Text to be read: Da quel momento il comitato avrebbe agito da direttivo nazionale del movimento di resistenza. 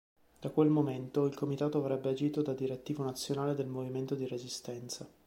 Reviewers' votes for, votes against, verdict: 2, 0, accepted